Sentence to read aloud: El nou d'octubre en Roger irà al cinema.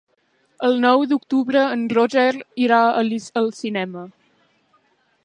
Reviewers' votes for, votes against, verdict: 0, 2, rejected